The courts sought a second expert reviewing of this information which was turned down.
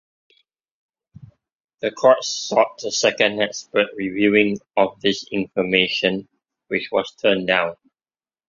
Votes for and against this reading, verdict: 2, 0, accepted